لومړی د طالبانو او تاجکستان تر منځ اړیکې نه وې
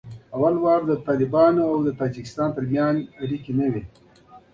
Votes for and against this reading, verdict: 2, 1, accepted